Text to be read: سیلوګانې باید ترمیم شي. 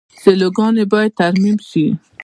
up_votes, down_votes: 0, 2